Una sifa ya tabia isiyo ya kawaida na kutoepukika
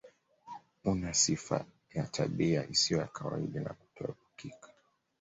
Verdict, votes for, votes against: rejected, 1, 2